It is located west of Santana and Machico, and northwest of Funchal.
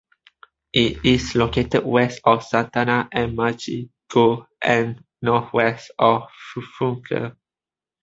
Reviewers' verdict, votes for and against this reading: rejected, 0, 3